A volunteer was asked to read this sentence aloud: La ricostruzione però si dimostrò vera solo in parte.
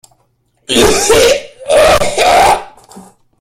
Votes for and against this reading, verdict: 0, 2, rejected